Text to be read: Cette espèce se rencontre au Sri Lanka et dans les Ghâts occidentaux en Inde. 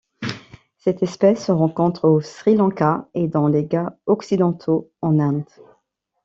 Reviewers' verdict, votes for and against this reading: rejected, 0, 3